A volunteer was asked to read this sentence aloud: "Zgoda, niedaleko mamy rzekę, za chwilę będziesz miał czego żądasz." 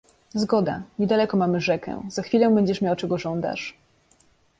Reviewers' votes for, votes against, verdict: 2, 0, accepted